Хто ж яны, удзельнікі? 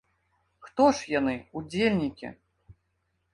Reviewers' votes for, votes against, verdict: 2, 0, accepted